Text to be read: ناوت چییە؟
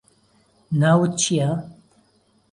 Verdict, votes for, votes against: accepted, 2, 0